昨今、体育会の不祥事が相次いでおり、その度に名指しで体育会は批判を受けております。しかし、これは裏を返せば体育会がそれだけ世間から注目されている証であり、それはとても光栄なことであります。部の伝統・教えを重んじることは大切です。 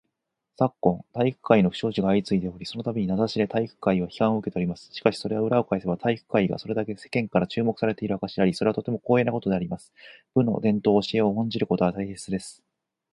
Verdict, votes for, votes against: accepted, 4, 2